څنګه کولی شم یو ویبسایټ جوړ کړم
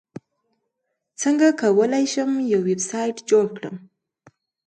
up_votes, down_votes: 2, 0